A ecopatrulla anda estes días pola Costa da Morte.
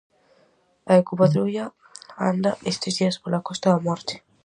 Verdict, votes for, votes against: accepted, 4, 0